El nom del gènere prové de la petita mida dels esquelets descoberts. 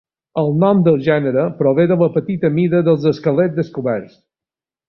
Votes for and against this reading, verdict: 2, 0, accepted